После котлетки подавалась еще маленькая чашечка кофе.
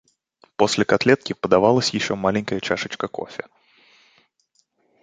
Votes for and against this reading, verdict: 2, 0, accepted